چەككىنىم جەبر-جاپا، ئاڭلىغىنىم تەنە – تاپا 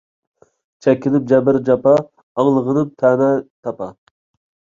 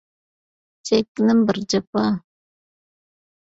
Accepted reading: first